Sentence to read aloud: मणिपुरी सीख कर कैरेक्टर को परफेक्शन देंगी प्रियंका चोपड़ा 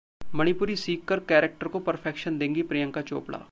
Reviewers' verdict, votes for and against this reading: accepted, 2, 0